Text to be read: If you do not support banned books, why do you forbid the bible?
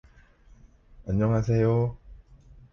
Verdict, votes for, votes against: rejected, 0, 2